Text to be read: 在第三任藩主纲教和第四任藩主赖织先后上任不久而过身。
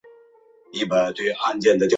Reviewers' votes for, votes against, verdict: 0, 3, rejected